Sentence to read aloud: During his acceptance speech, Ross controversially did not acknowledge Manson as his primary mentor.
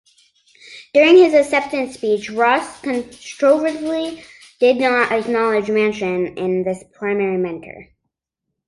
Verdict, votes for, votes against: rejected, 1, 2